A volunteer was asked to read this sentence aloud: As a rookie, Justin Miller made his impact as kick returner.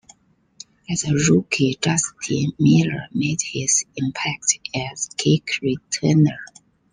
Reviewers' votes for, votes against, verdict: 2, 0, accepted